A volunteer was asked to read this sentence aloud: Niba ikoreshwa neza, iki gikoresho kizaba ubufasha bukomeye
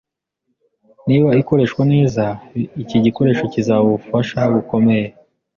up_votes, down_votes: 2, 0